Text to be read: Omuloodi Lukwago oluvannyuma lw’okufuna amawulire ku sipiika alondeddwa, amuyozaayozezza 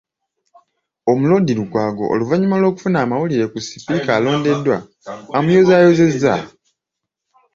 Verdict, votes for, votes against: accepted, 2, 0